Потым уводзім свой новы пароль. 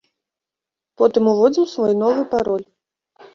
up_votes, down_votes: 2, 0